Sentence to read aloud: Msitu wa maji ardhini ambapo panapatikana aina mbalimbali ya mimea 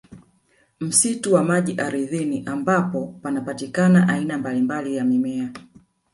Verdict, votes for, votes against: accepted, 2, 0